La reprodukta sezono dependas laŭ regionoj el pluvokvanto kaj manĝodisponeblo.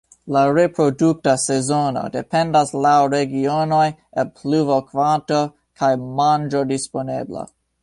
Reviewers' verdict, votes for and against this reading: rejected, 1, 2